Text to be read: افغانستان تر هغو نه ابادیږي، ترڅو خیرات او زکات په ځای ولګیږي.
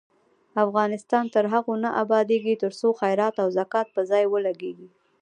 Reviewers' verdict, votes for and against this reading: accepted, 2, 0